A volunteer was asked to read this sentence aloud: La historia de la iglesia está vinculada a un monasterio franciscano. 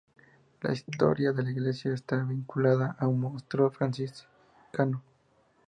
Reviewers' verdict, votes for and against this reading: accepted, 2, 0